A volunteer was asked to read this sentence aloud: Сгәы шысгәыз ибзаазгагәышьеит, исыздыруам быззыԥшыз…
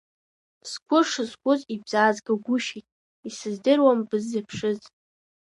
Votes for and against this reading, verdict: 1, 2, rejected